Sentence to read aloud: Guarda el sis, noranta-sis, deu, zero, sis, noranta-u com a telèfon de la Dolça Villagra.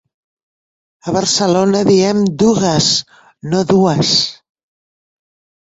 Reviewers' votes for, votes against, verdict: 0, 2, rejected